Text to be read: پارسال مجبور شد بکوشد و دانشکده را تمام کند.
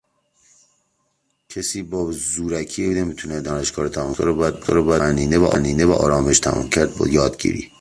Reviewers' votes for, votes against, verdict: 0, 3, rejected